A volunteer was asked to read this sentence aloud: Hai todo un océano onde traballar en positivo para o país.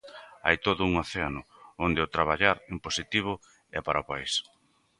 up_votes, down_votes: 0, 2